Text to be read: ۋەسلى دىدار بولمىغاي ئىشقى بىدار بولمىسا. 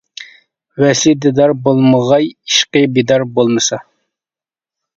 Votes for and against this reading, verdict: 2, 0, accepted